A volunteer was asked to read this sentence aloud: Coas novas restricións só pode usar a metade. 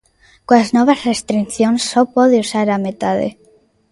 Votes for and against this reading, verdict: 0, 2, rejected